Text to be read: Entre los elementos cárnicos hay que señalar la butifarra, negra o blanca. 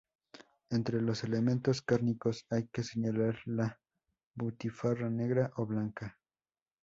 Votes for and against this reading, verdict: 2, 0, accepted